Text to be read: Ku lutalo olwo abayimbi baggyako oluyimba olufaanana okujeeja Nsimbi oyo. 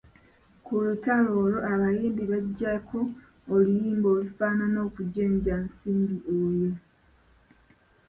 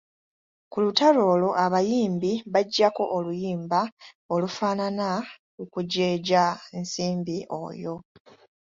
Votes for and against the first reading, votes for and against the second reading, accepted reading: 0, 2, 2, 0, second